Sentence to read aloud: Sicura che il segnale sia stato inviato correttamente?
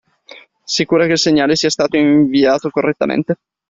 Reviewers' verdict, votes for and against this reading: accepted, 2, 0